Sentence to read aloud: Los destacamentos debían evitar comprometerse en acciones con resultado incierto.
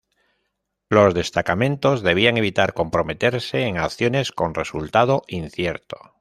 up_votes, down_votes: 2, 0